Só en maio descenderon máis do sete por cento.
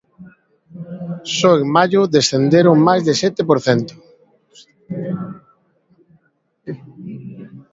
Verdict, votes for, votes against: rejected, 0, 2